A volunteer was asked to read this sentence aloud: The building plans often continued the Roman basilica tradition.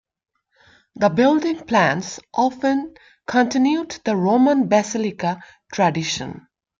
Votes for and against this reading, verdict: 2, 1, accepted